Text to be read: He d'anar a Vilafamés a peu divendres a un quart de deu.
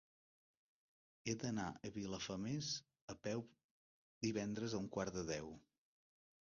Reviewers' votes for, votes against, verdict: 1, 2, rejected